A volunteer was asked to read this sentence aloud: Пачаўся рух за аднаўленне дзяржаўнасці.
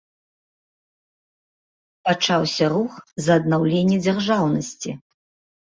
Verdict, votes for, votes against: accepted, 2, 0